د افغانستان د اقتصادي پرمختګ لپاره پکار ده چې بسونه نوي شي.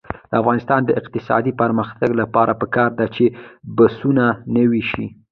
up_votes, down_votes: 1, 2